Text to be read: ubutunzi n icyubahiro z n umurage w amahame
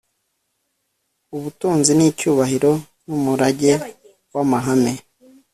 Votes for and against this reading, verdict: 2, 0, accepted